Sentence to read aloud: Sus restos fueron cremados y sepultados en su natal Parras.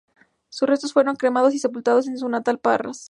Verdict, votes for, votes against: accepted, 4, 0